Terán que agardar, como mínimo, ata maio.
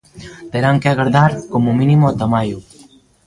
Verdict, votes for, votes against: rejected, 1, 2